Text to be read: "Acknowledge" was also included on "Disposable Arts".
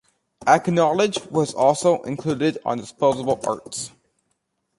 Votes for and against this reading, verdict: 2, 0, accepted